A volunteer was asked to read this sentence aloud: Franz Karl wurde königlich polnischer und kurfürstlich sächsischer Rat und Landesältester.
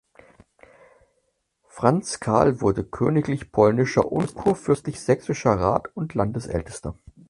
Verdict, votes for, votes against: accepted, 4, 0